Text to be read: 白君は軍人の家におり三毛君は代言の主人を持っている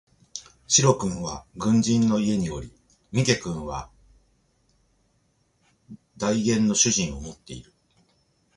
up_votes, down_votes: 4, 0